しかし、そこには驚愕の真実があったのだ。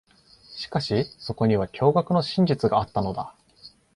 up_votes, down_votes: 2, 0